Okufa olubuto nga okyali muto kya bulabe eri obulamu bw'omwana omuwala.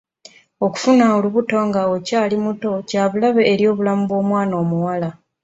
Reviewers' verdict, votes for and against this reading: rejected, 0, 2